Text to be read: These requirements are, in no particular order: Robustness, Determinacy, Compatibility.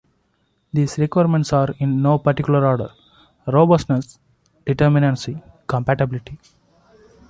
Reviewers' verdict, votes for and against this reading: accepted, 2, 0